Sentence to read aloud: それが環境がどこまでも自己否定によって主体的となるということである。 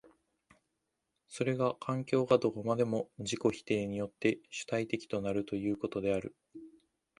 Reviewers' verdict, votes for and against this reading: accepted, 2, 0